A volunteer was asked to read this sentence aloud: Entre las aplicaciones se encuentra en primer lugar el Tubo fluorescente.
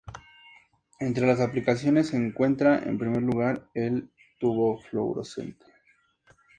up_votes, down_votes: 2, 0